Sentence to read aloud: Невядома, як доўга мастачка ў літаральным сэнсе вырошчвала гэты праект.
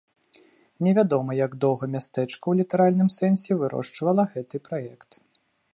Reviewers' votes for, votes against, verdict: 0, 2, rejected